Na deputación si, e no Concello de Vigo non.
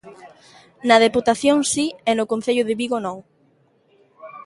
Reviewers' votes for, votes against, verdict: 2, 0, accepted